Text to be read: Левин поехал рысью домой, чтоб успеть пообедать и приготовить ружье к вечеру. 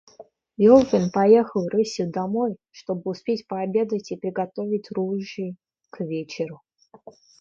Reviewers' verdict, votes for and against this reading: rejected, 1, 2